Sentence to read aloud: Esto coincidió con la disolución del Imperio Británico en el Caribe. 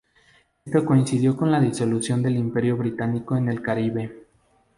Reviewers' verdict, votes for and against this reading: rejected, 0, 2